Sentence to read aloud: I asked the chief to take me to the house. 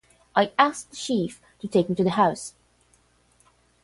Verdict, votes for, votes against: rejected, 0, 5